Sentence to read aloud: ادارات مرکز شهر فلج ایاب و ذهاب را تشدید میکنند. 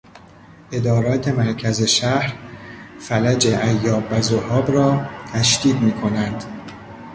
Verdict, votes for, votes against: rejected, 0, 2